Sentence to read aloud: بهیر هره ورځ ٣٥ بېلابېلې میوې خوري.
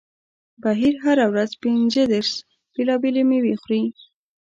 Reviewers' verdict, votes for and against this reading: rejected, 0, 2